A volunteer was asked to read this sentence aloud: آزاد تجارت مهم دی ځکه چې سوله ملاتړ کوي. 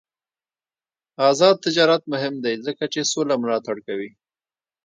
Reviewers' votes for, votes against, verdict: 2, 0, accepted